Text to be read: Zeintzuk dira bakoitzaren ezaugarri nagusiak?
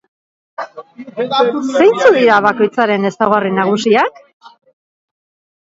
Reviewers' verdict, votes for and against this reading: rejected, 1, 2